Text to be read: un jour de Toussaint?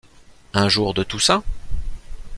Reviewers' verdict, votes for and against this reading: accepted, 2, 0